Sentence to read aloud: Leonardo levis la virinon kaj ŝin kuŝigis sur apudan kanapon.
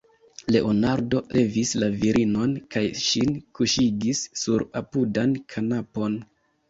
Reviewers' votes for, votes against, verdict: 3, 0, accepted